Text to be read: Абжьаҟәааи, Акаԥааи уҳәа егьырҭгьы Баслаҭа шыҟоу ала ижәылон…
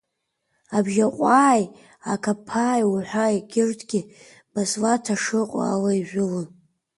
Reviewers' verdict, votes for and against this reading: rejected, 1, 2